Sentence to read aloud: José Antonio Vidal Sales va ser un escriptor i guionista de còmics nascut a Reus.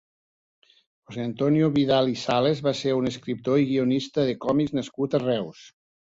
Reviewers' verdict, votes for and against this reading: rejected, 1, 2